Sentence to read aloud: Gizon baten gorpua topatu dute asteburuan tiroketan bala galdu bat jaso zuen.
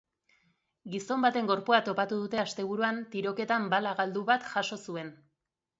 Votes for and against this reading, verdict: 2, 0, accepted